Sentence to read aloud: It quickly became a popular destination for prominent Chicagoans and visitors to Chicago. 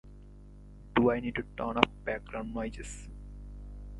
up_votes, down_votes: 0, 2